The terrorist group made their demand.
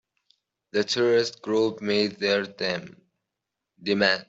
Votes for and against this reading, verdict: 0, 2, rejected